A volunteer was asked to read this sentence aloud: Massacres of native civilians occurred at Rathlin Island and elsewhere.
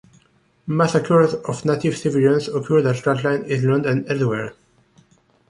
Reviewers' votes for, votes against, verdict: 2, 3, rejected